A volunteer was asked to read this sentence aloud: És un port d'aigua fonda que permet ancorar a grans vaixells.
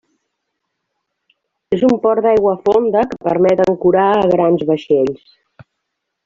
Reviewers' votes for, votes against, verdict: 2, 0, accepted